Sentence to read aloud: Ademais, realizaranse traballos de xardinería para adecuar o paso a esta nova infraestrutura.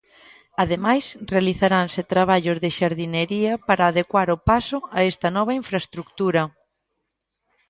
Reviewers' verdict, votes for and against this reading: accepted, 2, 1